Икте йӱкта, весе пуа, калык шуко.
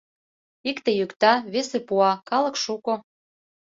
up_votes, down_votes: 2, 0